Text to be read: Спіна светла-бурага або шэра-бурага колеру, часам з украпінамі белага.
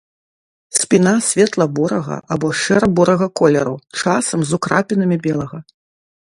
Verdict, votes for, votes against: rejected, 1, 2